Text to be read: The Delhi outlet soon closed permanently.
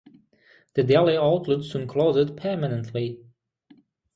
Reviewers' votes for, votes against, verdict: 3, 3, rejected